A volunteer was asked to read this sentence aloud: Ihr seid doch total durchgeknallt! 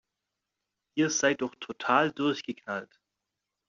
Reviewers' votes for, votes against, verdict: 2, 0, accepted